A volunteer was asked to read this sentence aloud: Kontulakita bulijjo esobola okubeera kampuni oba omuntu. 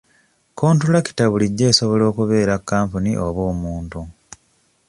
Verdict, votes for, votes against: accepted, 2, 0